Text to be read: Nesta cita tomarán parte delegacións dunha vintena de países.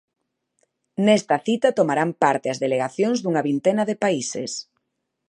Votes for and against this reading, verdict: 0, 2, rejected